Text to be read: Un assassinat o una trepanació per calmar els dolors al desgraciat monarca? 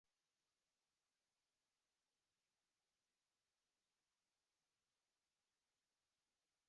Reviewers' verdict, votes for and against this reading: rejected, 0, 2